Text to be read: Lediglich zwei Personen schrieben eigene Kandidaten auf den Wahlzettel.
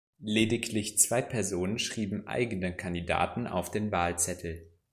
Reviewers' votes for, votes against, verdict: 2, 0, accepted